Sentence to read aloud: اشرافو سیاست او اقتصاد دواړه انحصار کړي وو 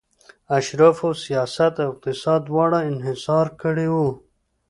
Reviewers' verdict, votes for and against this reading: accepted, 2, 0